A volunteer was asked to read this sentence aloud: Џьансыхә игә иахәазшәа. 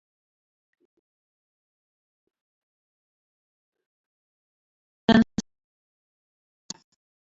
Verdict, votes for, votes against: rejected, 0, 2